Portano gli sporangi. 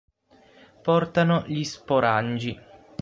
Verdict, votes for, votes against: accepted, 9, 0